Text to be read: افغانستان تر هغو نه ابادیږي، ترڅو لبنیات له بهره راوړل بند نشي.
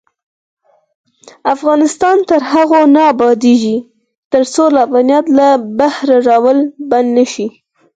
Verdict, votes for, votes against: rejected, 2, 4